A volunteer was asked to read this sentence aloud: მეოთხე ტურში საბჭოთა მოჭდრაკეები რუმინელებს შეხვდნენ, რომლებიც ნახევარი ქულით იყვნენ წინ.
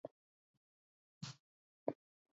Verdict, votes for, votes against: rejected, 0, 2